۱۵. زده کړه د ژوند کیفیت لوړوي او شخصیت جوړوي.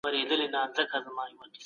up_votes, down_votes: 0, 2